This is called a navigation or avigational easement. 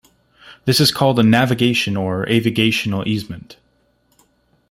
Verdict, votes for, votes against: accepted, 2, 0